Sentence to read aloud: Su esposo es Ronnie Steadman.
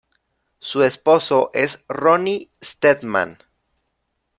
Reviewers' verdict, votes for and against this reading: accepted, 2, 0